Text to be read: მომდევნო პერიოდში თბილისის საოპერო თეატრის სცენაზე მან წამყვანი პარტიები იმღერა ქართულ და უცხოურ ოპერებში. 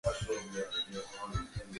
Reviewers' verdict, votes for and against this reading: rejected, 0, 3